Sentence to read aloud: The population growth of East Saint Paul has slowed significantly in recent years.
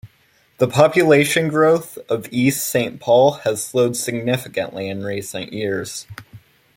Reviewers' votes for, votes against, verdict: 2, 0, accepted